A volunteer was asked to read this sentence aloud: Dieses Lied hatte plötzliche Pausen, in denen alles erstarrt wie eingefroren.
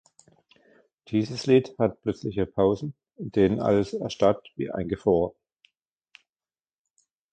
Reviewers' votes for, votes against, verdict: 1, 2, rejected